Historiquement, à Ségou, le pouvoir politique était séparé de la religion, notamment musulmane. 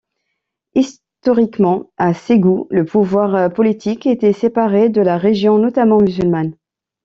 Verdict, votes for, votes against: rejected, 0, 2